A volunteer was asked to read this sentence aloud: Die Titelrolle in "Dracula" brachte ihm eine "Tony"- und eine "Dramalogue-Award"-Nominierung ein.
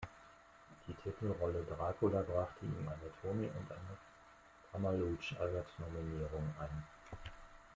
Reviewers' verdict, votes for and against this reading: rejected, 1, 2